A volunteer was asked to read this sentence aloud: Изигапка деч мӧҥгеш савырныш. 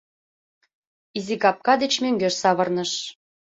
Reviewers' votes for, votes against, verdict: 2, 0, accepted